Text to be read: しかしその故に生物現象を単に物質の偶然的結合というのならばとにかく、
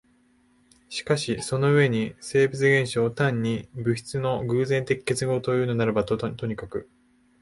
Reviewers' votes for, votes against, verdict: 1, 2, rejected